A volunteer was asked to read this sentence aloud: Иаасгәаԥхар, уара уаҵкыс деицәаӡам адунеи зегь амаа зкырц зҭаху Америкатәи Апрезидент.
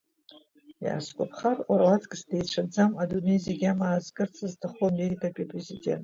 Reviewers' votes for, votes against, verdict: 2, 1, accepted